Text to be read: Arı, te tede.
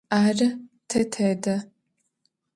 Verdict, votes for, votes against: accepted, 2, 0